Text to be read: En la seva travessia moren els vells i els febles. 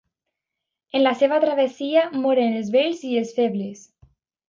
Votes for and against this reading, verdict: 2, 0, accepted